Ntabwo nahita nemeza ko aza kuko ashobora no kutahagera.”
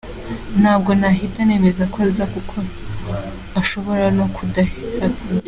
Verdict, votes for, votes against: rejected, 0, 2